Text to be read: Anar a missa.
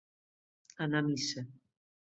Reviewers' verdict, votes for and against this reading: accepted, 2, 0